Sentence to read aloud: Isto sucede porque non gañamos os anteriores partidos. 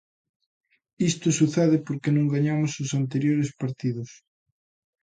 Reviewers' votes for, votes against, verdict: 2, 0, accepted